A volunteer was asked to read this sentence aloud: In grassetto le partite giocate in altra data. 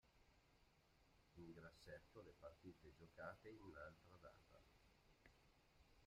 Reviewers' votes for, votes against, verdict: 1, 2, rejected